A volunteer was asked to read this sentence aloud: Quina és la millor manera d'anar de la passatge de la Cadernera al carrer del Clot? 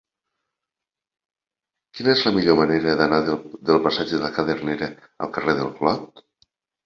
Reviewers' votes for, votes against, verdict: 0, 2, rejected